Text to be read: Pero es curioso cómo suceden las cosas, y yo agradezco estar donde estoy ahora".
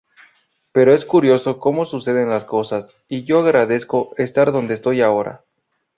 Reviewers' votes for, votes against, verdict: 6, 0, accepted